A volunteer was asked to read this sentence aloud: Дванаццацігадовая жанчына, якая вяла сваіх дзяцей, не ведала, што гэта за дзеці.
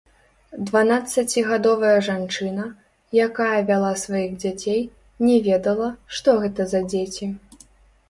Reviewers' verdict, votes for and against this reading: rejected, 0, 2